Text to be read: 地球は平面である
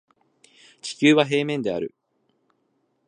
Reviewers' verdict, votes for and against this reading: accepted, 2, 0